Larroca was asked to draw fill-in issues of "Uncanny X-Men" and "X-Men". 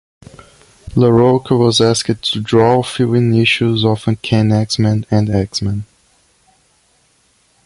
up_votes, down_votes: 2, 0